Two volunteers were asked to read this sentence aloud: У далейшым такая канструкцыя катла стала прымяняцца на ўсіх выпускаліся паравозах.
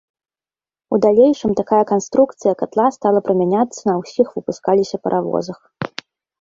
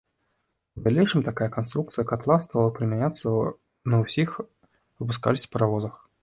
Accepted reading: first